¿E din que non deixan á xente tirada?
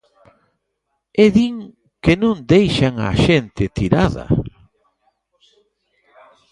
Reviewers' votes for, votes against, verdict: 3, 0, accepted